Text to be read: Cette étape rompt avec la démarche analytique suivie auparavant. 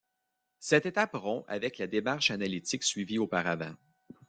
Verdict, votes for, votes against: accepted, 2, 0